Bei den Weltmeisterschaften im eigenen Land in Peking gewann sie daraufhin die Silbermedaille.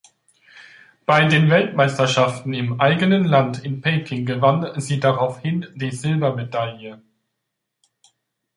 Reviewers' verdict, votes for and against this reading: accepted, 3, 0